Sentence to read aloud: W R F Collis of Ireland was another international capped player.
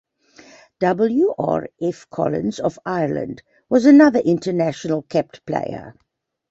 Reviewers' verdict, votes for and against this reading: rejected, 0, 2